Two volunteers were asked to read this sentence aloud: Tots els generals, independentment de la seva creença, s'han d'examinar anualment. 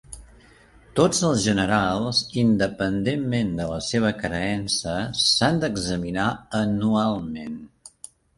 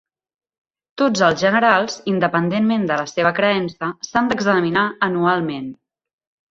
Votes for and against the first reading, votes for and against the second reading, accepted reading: 1, 2, 2, 1, second